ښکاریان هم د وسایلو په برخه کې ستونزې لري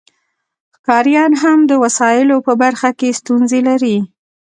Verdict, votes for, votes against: accepted, 2, 1